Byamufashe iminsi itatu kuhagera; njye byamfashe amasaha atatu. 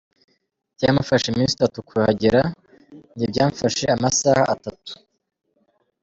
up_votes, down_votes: 2, 0